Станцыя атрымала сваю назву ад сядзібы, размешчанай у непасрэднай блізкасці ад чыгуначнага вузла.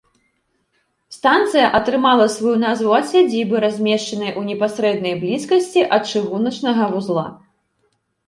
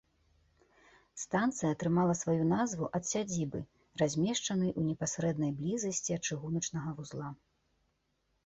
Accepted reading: first